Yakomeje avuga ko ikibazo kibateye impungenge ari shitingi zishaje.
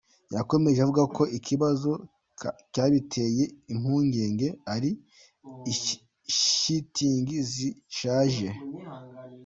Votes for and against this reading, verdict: 1, 2, rejected